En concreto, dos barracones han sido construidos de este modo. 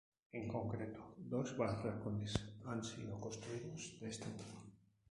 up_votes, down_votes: 2, 2